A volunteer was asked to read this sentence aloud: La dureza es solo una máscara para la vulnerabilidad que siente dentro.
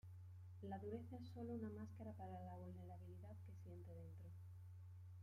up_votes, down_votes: 2, 1